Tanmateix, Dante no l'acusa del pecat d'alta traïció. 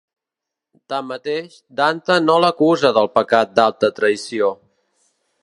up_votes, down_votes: 2, 0